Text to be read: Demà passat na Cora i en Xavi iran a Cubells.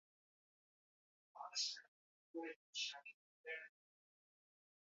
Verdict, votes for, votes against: rejected, 0, 2